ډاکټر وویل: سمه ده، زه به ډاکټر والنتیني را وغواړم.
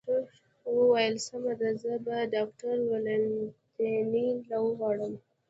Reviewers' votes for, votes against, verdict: 1, 2, rejected